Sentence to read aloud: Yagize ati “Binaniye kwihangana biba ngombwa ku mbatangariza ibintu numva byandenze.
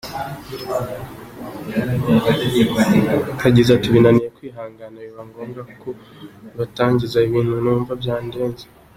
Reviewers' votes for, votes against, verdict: 2, 1, accepted